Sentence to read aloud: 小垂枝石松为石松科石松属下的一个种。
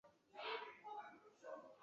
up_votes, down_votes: 0, 2